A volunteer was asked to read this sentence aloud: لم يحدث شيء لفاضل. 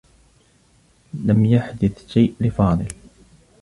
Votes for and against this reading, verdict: 2, 0, accepted